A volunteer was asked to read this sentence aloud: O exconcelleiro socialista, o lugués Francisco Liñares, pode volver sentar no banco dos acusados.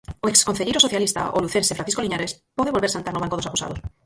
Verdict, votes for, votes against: rejected, 0, 4